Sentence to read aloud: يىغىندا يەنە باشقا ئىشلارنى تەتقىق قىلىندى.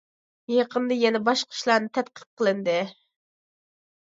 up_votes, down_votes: 0, 2